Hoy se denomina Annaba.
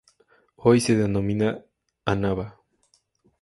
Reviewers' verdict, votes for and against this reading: rejected, 2, 2